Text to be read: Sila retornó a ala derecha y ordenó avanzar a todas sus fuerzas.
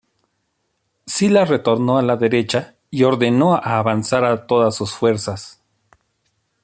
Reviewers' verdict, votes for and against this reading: rejected, 0, 2